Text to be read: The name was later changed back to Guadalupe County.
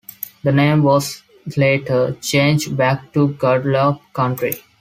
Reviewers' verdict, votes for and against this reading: accepted, 2, 0